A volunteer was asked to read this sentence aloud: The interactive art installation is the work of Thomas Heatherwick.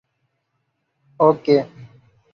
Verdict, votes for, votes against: rejected, 0, 2